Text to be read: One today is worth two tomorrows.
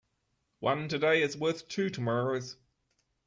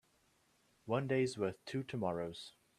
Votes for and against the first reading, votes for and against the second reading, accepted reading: 2, 0, 1, 2, first